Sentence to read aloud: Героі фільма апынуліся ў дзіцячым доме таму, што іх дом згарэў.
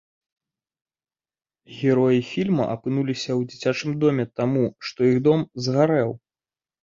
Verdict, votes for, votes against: accepted, 2, 0